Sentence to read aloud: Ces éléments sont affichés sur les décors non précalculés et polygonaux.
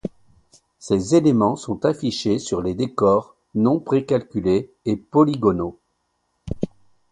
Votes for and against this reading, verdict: 2, 0, accepted